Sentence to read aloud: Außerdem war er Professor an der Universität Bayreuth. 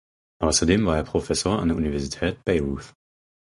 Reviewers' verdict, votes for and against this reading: rejected, 0, 4